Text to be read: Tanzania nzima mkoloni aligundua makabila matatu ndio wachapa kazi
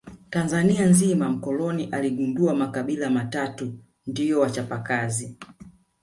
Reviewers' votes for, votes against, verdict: 2, 1, accepted